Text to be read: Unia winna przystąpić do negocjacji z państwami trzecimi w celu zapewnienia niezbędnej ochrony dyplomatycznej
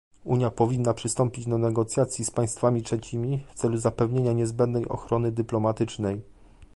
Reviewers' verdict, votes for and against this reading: rejected, 0, 2